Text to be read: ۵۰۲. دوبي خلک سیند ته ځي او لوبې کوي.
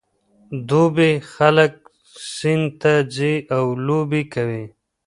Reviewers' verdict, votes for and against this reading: rejected, 0, 2